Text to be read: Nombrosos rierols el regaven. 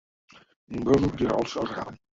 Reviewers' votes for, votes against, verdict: 0, 2, rejected